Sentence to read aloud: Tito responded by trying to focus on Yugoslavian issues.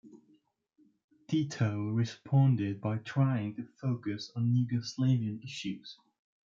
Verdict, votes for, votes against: rejected, 0, 2